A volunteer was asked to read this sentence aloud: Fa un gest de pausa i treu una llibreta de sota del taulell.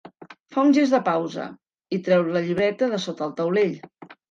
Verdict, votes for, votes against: rejected, 2, 3